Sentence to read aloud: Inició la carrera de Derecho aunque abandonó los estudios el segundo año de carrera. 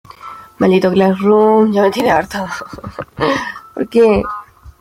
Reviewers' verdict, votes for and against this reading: rejected, 0, 2